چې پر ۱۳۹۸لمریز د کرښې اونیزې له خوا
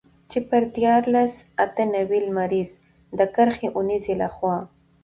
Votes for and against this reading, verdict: 0, 2, rejected